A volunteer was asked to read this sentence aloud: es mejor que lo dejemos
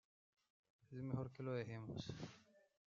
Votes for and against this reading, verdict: 0, 2, rejected